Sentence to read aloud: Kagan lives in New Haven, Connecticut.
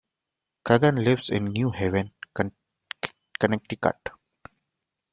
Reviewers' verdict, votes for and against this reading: rejected, 1, 2